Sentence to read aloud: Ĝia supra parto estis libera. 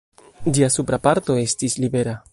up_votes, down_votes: 0, 2